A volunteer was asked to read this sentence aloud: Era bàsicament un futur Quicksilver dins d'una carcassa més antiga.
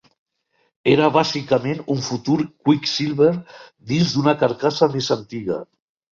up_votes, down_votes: 3, 0